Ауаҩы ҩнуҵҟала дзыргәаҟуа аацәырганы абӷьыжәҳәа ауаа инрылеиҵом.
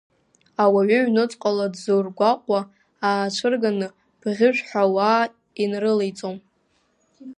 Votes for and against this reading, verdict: 1, 2, rejected